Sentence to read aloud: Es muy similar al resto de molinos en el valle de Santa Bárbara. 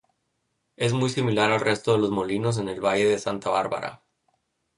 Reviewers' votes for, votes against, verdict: 0, 2, rejected